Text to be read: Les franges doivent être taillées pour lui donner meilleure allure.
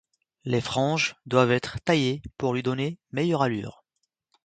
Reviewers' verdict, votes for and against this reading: accepted, 2, 0